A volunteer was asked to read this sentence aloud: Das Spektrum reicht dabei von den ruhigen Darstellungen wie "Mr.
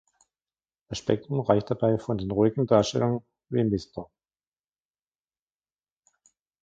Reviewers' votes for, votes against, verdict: 0, 2, rejected